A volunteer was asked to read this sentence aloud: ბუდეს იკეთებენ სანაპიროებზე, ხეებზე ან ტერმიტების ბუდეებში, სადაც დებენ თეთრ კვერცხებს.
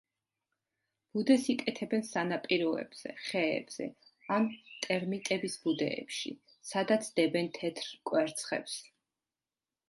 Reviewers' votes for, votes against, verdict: 2, 0, accepted